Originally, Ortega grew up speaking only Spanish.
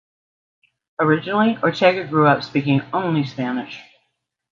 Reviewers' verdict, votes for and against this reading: accepted, 2, 0